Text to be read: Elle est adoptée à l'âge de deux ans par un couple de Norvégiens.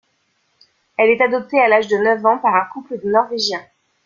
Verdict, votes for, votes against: rejected, 0, 2